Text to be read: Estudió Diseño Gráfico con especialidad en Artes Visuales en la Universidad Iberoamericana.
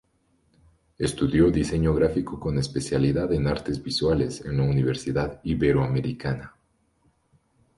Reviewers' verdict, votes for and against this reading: accepted, 2, 0